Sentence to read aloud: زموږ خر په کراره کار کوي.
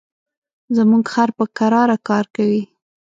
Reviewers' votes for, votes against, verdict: 2, 0, accepted